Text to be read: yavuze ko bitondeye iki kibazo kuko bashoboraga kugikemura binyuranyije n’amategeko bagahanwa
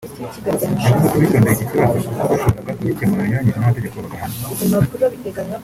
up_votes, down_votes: 0, 2